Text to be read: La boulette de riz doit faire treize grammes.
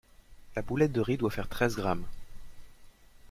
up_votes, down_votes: 2, 0